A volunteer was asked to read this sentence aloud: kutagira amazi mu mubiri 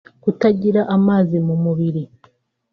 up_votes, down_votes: 2, 1